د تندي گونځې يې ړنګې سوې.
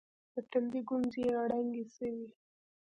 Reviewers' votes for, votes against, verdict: 2, 0, accepted